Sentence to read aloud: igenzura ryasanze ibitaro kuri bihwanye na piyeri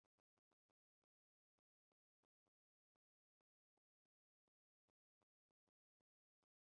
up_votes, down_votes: 0, 2